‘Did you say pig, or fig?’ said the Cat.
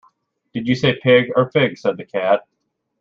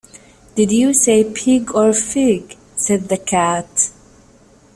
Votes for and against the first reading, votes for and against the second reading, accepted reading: 1, 2, 2, 0, second